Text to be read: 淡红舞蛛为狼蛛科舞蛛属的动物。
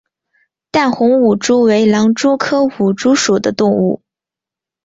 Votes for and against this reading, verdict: 2, 3, rejected